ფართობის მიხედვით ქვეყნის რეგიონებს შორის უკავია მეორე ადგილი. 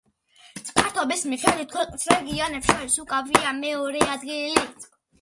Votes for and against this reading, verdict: 0, 2, rejected